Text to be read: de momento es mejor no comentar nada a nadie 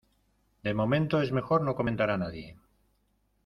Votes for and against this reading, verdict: 0, 2, rejected